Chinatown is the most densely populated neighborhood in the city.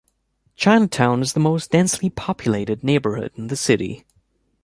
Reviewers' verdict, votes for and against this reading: accepted, 2, 0